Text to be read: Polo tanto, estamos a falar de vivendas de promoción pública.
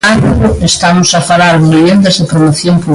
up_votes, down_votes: 0, 2